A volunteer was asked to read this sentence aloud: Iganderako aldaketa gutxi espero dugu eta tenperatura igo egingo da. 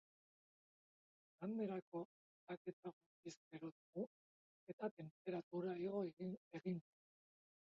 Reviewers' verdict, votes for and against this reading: rejected, 0, 2